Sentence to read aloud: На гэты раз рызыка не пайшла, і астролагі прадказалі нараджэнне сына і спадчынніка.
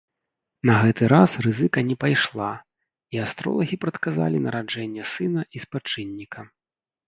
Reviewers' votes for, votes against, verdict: 0, 2, rejected